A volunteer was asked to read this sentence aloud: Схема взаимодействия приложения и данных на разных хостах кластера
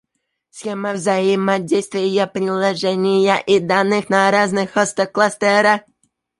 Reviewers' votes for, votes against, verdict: 1, 2, rejected